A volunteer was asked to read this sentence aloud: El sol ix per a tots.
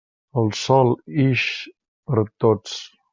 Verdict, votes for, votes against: accepted, 2, 0